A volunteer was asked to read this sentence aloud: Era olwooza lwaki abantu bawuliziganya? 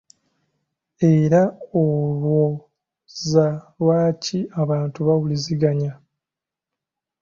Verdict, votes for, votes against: rejected, 1, 2